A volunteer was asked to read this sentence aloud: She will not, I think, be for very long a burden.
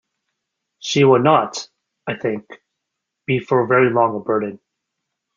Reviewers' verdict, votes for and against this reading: accepted, 2, 0